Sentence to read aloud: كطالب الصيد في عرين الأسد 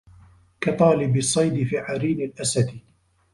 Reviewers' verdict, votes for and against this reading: accepted, 2, 0